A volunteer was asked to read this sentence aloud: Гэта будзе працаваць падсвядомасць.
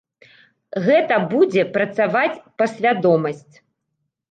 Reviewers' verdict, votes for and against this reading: rejected, 1, 2